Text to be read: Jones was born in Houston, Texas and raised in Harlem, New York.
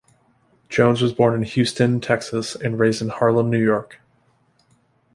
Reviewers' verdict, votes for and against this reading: accepted, 2, 0